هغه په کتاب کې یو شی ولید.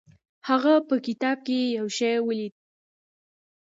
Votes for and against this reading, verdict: 0, 2, rejected